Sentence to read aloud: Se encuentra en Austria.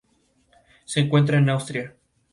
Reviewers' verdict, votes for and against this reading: accepted, 2, 0